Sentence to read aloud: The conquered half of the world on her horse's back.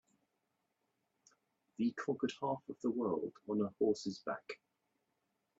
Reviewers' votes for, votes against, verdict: 3, 0, accepted